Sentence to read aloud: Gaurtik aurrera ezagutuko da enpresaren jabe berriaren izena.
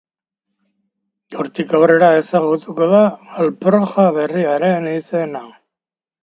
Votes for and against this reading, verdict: 0, 2, rejected